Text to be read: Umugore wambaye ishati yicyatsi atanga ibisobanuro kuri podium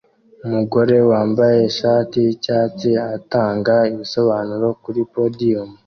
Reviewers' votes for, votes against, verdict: 2, 0, accepted